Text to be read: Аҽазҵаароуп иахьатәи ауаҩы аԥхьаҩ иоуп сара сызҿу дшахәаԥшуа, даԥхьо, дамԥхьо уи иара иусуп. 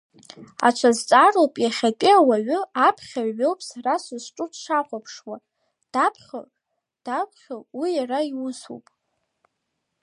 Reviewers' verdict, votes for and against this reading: accepted, 2, 0